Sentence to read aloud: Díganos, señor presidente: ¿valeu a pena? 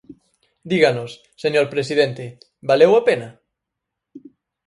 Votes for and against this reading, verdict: 4, 0, accepted